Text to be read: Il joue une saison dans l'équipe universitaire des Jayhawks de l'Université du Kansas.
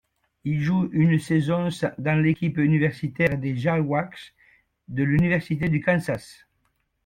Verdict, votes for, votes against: accepted, 2, 0